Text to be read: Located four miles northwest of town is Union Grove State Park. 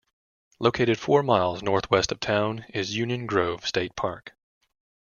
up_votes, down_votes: 2, 0